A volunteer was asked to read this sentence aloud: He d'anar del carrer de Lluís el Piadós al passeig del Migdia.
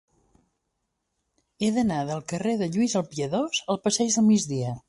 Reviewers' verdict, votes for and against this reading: accepted, 2, 0